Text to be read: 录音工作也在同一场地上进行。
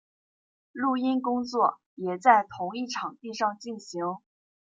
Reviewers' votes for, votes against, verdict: 2, 0, accepted